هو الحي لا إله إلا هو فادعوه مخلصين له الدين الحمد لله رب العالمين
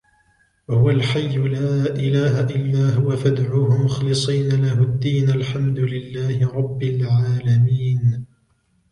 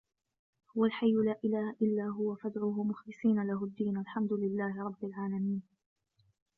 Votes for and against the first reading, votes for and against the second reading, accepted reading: 2, 1, 0, 2, first